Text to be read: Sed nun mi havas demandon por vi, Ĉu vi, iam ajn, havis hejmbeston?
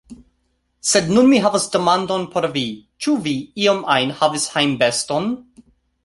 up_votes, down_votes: 2, 0